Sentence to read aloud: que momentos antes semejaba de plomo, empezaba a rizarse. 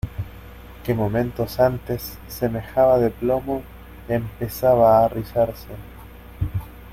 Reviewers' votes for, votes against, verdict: 2, 0, accepted